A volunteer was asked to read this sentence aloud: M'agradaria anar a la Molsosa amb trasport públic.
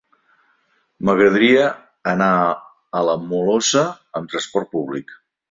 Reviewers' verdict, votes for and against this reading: rejected, 0, 2